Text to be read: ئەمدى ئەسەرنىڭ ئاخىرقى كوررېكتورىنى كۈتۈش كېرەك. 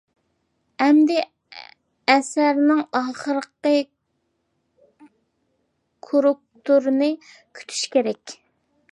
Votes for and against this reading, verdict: 1, 2, rejected